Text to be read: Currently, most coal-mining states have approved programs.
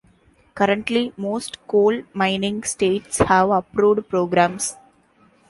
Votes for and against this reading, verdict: 2, 0, accepted